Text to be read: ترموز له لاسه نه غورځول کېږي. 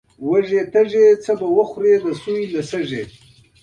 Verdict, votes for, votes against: rejected, 1, 2